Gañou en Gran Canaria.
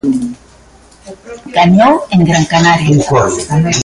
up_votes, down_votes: 0, 2